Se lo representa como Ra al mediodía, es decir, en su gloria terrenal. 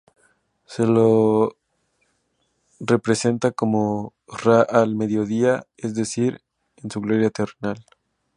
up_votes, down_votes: 0, 2